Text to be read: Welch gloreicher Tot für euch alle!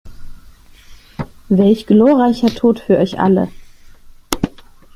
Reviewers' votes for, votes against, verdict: 2, 0, accepted